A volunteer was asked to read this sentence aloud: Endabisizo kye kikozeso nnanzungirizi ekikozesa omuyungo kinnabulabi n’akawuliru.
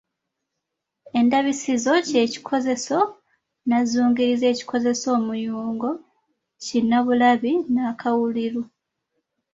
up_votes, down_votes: 2, 0